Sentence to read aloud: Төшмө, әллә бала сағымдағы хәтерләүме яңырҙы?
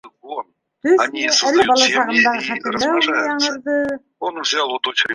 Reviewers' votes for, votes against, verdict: 1, 3, rejected